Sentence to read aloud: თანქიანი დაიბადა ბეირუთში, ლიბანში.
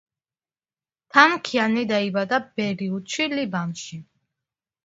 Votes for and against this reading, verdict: 0, 2, rejected